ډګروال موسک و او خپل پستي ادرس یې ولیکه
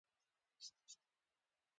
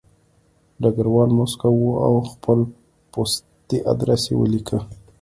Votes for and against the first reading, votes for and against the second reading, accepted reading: 0, 2, 2, 0, second